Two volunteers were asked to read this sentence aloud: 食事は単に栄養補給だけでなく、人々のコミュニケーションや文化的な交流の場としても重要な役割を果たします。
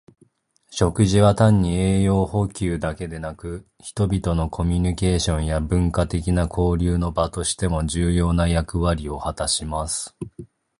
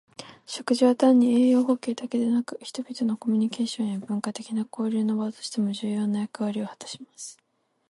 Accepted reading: second